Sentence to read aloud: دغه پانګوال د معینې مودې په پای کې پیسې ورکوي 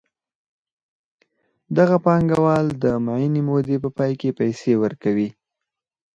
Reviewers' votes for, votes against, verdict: 4, 0, accepted